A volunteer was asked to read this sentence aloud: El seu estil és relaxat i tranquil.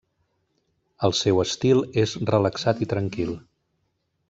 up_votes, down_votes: 3, 0